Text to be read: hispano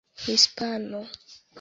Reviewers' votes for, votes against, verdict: 2, 1, accepted